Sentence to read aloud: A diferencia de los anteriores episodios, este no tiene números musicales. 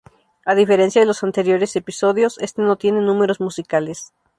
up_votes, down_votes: 4, 0